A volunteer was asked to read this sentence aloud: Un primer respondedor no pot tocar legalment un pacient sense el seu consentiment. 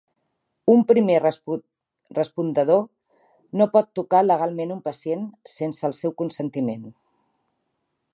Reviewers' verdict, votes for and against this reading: rejected, 1, 3